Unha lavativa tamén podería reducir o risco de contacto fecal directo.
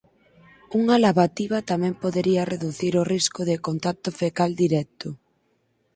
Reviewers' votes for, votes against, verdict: 4, 0, accepted